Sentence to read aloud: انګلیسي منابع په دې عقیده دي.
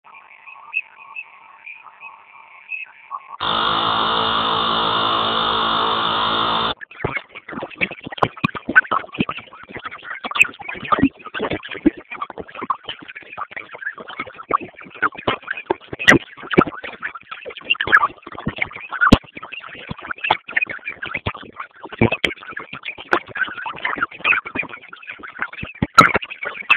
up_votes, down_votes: 0, 2